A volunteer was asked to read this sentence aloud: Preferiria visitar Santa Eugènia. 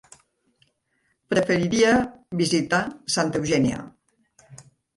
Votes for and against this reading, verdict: 0, 2, rejected